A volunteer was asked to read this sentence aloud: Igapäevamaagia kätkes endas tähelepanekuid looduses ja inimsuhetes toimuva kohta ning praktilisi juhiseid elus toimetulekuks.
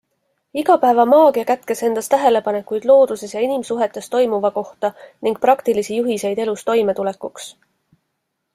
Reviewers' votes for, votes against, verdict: 2, 0, accepted